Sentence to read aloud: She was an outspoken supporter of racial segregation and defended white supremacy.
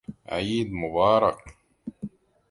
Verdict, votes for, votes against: rejected, 0, 2